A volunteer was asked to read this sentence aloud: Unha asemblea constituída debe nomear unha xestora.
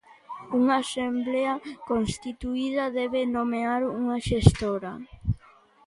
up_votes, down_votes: 1, 2